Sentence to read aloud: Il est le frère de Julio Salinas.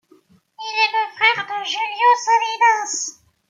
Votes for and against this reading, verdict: 0, 2, rejected